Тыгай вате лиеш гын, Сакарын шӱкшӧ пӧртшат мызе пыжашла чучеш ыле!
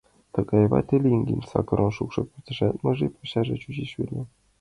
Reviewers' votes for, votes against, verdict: 1, 2, rejected